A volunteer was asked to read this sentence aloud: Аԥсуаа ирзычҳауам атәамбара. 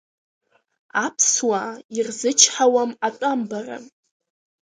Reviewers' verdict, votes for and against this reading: accepted, 2, 0